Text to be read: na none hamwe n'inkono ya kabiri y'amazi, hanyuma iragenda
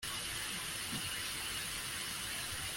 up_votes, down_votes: 0, 2